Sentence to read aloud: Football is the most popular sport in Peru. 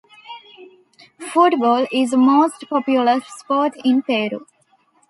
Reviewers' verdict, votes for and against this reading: accepted, 2, 0